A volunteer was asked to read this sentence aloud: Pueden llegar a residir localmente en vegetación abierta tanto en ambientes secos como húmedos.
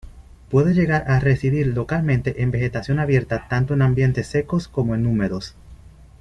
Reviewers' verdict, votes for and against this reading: rejected, 0, 2